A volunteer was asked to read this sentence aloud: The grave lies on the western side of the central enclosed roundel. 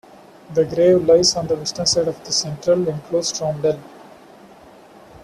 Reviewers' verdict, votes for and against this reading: accepted, 2, 0